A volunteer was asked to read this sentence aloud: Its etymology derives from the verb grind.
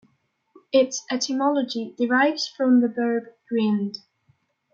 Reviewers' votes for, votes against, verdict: 1, 2, rejected